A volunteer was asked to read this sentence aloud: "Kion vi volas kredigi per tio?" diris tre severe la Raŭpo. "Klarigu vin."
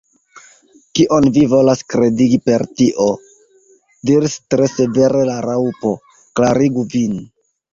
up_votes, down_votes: 1, 2